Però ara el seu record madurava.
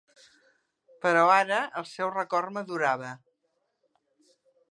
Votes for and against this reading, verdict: 2, 0, accepted